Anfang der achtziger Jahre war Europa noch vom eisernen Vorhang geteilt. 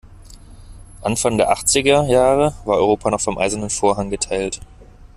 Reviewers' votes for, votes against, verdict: 2, 1, accepted